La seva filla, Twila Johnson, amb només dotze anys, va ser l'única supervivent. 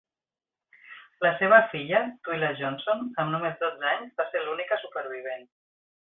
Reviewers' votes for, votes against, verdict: 3, 0, accepted